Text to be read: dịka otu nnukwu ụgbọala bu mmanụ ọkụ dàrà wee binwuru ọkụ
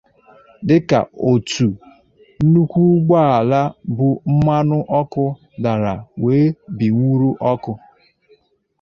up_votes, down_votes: 2, 0